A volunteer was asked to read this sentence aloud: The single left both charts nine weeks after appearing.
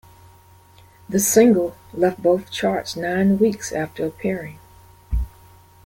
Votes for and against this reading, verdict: 2, 0, accepted